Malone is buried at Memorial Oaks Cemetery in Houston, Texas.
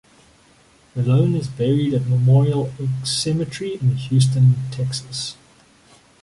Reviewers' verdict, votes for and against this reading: rejected, 0, 2